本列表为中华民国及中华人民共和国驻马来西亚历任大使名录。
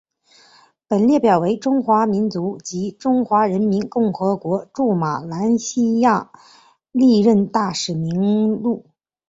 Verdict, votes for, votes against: rejected, 1, 3